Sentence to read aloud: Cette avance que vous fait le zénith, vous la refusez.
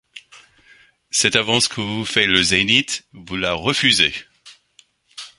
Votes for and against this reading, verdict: 2, 0, accepted